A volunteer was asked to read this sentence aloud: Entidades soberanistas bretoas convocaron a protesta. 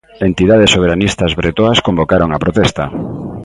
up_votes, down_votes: 2, 0